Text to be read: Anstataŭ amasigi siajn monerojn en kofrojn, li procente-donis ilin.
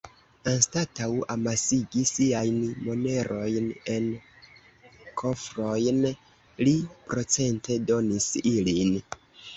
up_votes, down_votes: 3, 1